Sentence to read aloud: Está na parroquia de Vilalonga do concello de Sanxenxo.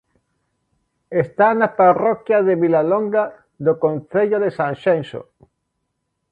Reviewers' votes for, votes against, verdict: 2, 0, accepted